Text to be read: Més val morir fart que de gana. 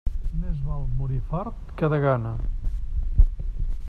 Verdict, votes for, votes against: rejected, 0, 2